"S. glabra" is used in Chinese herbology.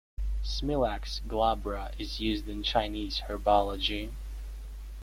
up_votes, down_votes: 0, 2